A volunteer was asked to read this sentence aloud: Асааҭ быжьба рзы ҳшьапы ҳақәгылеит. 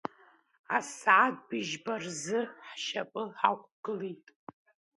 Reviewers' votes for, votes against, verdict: 2, 0, accepted